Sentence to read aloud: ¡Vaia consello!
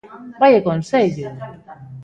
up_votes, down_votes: 2, 0